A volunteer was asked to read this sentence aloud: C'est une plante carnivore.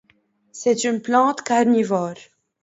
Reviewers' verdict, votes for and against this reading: accepted, 2, 0